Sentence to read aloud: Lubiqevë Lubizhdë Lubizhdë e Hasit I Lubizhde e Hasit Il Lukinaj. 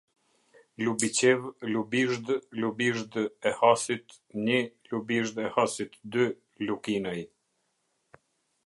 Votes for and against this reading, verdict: 0, 2, rejected